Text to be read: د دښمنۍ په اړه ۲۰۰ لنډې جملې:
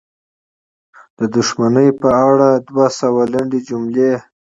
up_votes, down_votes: 0, 2